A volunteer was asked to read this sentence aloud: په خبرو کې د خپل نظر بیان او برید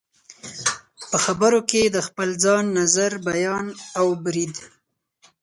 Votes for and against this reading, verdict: 0, 4, rejected